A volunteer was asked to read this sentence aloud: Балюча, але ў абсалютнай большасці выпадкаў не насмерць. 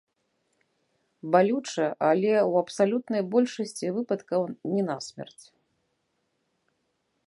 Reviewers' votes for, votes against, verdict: 2, 0, accepted